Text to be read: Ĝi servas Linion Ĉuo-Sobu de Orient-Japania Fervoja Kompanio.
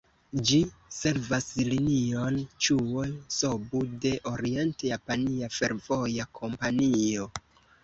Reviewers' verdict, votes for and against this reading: accepted, 3, 0